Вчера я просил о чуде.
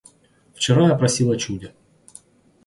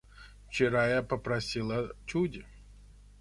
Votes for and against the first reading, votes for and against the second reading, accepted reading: 2, 0, 0, 2, first